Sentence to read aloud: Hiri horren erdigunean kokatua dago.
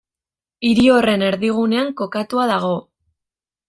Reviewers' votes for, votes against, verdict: 2, 0, accepted